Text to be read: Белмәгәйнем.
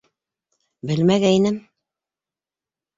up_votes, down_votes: 2, 0